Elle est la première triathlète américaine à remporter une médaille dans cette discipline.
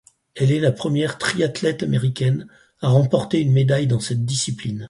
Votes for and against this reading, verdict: 4, 0, accepted